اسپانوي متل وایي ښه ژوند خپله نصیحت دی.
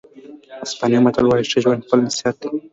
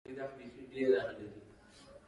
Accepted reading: first